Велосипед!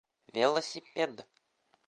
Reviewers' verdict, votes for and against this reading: accepted, 2, 0